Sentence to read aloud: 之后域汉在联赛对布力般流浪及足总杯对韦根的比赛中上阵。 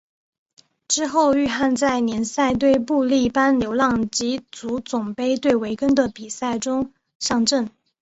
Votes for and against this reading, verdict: 2, 0, accepted